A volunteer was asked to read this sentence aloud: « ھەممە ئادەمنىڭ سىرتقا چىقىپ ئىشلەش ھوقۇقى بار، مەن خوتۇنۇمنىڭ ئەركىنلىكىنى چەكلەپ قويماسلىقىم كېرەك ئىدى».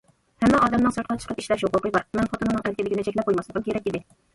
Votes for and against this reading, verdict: 1, 2, rejected